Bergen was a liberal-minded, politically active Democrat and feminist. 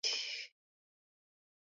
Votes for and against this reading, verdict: 0, 2, rejected